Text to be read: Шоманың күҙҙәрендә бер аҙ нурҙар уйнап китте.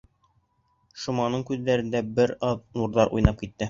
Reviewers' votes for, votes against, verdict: 4, 0, accepted